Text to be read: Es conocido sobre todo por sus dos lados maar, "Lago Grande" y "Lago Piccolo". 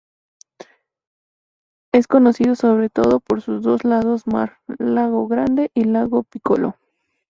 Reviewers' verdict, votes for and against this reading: accepted, 2, 0